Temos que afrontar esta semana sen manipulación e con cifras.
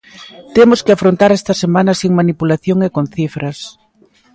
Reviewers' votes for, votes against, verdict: 3, 2, accepted